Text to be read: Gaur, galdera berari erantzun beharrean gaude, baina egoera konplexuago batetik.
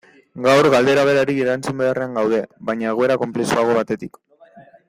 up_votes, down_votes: 2, 0